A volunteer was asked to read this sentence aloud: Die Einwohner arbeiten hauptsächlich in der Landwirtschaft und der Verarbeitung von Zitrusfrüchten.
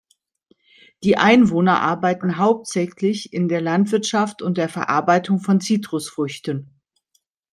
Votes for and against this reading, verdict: 2, 0, accepted